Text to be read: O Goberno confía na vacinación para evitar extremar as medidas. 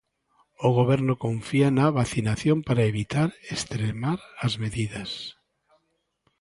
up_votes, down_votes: 2, 0